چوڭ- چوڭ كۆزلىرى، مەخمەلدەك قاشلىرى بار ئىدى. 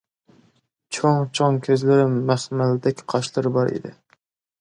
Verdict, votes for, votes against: rejected, 0, 2